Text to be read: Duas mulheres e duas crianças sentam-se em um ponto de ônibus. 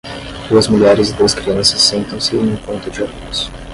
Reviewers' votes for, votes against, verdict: 5, 10, rejected